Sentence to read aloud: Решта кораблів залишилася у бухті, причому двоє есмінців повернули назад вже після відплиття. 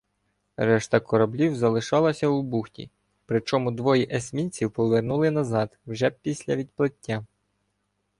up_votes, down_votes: 1, 2